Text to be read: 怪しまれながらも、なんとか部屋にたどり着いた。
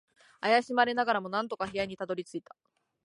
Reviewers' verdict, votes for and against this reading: accepted, 2, 0